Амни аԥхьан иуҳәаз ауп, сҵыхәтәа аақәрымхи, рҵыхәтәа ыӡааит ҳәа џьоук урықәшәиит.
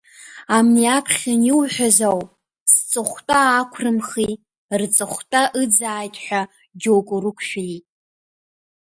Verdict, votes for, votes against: accepted, 2, 0